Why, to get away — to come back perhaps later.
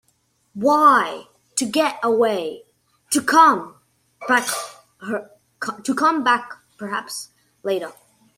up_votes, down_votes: 0, 2